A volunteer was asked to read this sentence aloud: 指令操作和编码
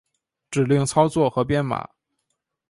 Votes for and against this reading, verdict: 2, 0, accepted